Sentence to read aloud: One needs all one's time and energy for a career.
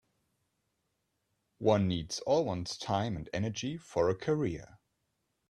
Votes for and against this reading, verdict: 2, 1, accepted